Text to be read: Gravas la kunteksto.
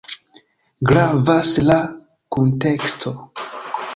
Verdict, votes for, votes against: accepted, 2, 0